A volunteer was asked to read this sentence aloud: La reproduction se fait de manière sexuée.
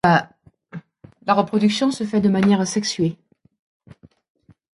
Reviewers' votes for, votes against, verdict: 0, 2, rejected